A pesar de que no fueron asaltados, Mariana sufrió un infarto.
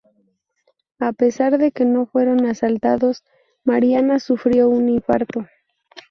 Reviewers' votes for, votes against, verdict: 2, 2, rejected